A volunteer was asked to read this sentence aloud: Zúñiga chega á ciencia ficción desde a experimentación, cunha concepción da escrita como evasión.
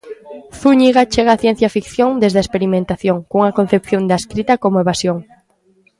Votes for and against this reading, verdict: 2, 0, accepted